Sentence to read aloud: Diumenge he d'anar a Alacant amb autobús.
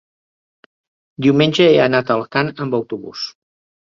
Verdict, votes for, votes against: rejected, 0, 2